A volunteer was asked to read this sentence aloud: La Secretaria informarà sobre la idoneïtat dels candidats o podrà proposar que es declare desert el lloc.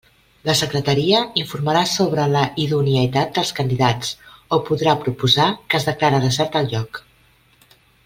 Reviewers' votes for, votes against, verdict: 2, 0, accepted